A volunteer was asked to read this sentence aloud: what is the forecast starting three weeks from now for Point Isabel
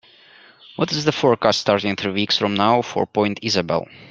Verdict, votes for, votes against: accepted, 2, 1